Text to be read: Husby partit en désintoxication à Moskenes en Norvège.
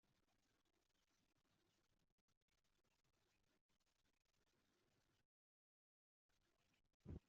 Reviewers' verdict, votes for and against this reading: rejected, 1, 2